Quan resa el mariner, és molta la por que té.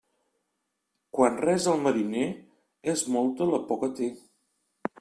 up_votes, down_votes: 2, 0